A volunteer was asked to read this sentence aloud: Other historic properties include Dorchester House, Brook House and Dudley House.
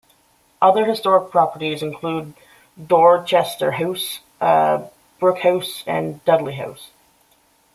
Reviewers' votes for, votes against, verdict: 0, 2, rejected